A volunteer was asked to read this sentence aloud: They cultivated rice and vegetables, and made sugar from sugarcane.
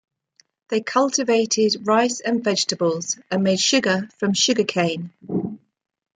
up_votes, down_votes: 1, 2